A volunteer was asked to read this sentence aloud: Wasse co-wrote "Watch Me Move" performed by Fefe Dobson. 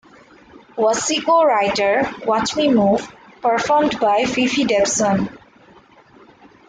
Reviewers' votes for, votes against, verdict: 0, 2, rejected